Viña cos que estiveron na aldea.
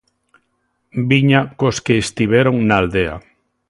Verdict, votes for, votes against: accepted, 2, 0